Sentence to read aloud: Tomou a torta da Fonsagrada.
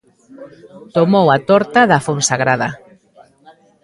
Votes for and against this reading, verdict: 2, 0, accepted